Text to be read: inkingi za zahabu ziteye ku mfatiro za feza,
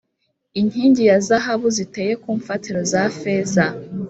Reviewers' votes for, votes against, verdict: 4, 0, accepted